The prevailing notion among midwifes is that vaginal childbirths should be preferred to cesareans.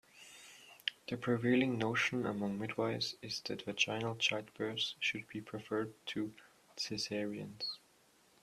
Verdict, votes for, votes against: rejected, 1, 2